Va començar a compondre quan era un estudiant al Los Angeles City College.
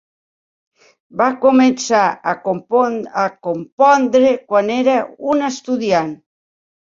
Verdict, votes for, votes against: rejected, 0, 2